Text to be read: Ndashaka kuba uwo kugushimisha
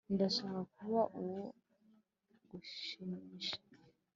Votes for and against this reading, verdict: 2, 0, accepted